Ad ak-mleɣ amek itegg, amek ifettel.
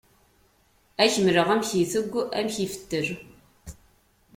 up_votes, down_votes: 2, 0